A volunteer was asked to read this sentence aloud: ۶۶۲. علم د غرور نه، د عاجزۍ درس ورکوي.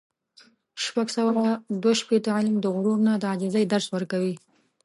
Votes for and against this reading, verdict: 0, 2, rejected